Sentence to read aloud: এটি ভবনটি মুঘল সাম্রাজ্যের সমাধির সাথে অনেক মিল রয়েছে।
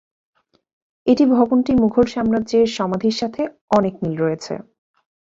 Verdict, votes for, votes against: accepted, 2, 0